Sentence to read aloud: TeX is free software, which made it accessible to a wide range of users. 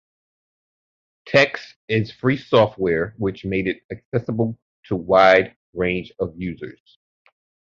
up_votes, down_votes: 3, 1